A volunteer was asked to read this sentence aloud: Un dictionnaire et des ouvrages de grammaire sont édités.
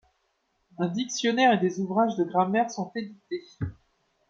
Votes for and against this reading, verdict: 2, 0, accepted